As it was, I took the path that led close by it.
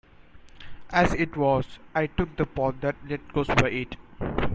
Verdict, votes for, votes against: rejected, 1, 2